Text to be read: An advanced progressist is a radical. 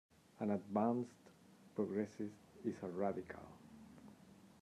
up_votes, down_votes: 1, 2